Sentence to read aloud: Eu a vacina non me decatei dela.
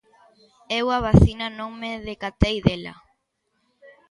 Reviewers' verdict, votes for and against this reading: accepted, 2, 1